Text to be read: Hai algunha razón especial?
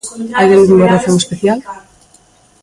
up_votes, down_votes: 0, 2